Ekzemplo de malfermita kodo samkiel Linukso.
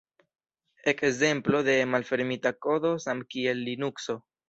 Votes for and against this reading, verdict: 3, 1, accepted